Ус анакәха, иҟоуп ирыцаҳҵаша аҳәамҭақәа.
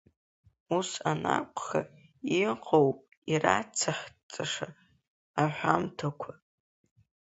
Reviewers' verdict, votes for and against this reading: rejected, 0, 2